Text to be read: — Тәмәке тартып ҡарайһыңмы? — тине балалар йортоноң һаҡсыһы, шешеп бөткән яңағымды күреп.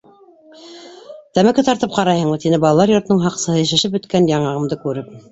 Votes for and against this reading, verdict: 2, 1, accepted